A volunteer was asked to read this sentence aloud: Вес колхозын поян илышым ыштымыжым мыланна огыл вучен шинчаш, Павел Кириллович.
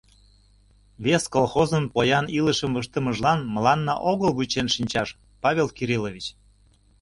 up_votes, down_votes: 0, 2